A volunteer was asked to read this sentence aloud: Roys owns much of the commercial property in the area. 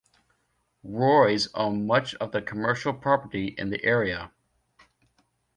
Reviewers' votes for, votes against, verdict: 0, 2, rejected